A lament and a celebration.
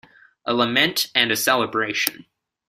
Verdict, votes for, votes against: rejected, 0, 2